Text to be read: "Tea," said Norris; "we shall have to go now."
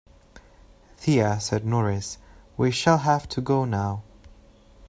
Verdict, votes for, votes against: rejected, 0, 2